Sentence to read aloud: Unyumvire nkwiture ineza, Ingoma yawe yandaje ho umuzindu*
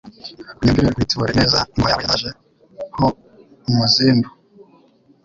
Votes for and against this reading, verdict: 0, 2, rejected